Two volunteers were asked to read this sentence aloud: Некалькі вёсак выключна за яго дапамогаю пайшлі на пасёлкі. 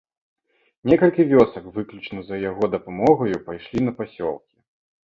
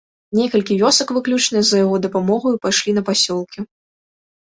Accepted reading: second